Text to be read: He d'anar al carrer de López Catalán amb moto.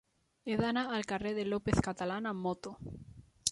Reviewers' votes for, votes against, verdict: 3, 0, accepted